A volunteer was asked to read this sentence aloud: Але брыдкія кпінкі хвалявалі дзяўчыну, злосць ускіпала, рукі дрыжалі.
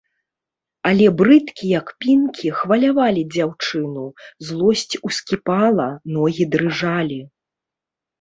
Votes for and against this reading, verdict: 0, 2, rejected